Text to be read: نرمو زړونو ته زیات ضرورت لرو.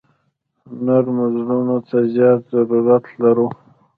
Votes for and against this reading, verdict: 1, 2, rejected